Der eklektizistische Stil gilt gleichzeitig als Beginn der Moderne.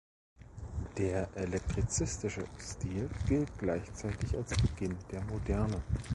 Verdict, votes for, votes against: rejected, 1, 2